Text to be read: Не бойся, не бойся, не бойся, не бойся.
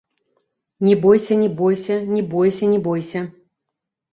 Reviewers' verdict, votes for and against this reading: accepted, 2, 0